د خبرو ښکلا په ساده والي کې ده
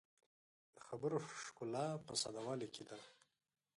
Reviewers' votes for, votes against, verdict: 0, 2, rejected